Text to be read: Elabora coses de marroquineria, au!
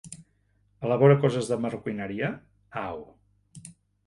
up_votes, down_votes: 3, 1